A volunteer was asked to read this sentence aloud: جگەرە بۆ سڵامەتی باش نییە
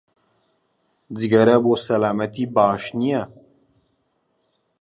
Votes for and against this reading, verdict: 1, 2, rejected